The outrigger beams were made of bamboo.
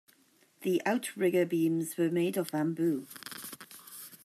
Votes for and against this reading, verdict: 1, 2, rejected